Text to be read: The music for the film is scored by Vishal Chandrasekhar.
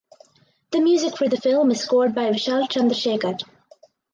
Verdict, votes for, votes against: accepted, 4, 2